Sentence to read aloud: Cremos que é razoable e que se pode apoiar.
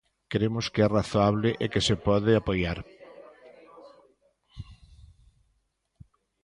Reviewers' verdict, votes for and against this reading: accepted, 2, 0